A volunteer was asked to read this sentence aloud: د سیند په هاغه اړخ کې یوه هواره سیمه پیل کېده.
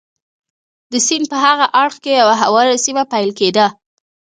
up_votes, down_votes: 0, 2